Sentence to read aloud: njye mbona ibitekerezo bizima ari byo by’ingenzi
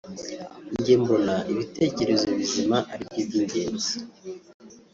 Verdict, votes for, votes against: rejected, 0, 2